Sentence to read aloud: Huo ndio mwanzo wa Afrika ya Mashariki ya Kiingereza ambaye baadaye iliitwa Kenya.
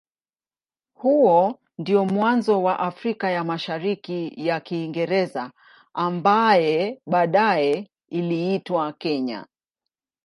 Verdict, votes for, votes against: accepted, 2, 0